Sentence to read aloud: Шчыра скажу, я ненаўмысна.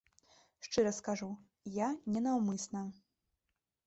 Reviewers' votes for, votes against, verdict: 2, 0, accepted